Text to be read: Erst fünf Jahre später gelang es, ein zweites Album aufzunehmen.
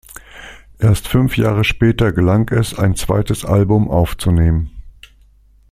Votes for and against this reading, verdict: 2, 0, accepted